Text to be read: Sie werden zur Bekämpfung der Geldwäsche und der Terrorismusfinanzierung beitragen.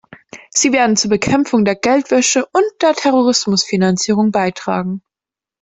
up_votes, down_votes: 2, 0